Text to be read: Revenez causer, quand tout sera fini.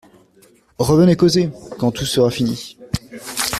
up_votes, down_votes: 2, 0